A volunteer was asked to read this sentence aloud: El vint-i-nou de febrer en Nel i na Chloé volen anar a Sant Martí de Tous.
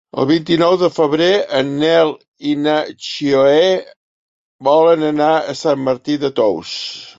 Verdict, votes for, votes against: rejected, 1, 2